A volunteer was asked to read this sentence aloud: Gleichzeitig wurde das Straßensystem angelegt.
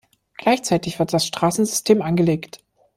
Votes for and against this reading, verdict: 0, 2, rejected